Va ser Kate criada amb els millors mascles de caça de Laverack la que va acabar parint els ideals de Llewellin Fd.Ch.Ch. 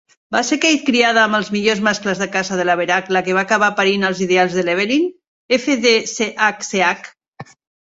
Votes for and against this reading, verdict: 2, 1, accepted